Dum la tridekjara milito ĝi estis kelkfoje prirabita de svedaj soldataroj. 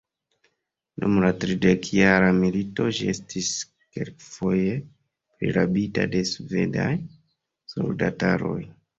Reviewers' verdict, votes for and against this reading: rejected, 1, 2